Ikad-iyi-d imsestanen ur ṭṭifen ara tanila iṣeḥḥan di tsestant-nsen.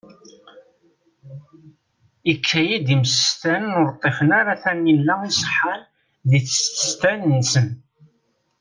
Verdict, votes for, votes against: accepted, 2, 0